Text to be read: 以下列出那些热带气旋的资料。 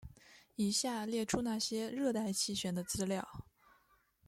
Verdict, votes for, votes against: accepted, 2, 0